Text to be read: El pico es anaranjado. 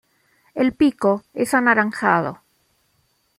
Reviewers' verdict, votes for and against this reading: accepted, 2, 0